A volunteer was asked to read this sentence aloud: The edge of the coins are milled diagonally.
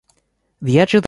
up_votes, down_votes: 0, 2